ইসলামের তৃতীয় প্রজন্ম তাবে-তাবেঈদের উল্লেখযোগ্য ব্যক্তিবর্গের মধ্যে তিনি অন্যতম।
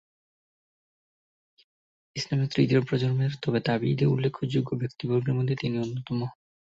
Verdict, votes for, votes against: rejected, 4, 6